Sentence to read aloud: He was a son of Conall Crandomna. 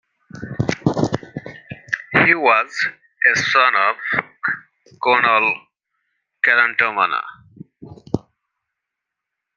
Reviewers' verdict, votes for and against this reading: accepted, 2, 1